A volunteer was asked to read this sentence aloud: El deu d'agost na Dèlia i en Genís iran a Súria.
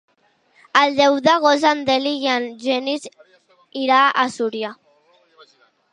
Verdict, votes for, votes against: rejected, 0, 2